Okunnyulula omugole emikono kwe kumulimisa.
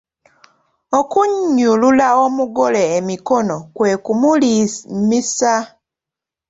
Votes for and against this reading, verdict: 1, 2, rejected